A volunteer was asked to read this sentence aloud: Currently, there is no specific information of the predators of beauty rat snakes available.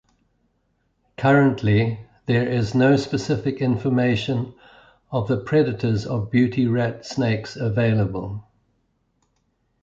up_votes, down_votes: 2, 0